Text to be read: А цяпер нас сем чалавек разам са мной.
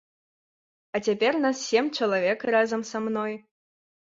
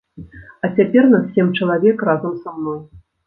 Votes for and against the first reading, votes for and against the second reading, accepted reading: 2, 0, 1, 2, first